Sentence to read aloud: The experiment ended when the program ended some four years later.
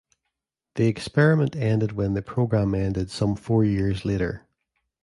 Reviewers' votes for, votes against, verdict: 2, 0, accepted